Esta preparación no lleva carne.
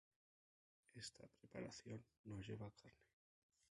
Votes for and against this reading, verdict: 0, 2, rejected